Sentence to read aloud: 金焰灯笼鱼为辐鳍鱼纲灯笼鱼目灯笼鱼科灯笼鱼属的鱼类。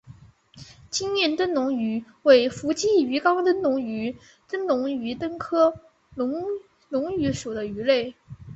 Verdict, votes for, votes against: accepted, 4, 0